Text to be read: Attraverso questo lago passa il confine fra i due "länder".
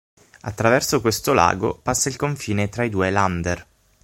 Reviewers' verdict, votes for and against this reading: rejected, 3, 6